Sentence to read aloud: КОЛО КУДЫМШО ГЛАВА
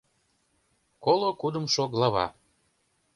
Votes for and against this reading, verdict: 2, 0, accepted